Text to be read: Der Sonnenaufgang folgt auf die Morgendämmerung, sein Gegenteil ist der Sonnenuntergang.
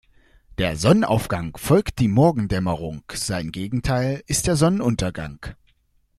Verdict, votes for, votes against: rejected, 0, 2